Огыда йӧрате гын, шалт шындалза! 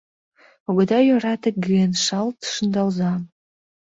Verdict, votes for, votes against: rejected, 0, 2